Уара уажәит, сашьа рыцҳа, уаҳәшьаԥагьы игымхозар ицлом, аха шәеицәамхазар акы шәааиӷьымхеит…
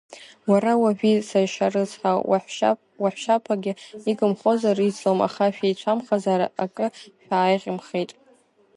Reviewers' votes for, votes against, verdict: 0, 2, rejected